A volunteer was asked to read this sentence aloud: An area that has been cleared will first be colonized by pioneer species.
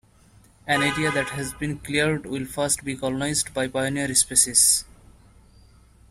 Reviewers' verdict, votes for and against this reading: rejected, 1, 2